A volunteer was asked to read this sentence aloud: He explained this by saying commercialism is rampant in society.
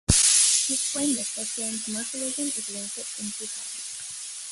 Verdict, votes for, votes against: rejected, 1, 2